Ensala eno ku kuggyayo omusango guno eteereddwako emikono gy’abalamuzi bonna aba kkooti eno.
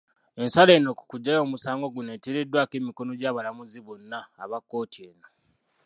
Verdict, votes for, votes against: rejected, 1, 2